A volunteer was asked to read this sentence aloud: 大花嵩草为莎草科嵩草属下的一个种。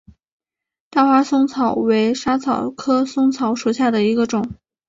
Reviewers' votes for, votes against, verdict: 2, 0, accepted